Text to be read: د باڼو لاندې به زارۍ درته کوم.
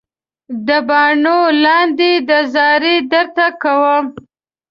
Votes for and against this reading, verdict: 1, 2, rejected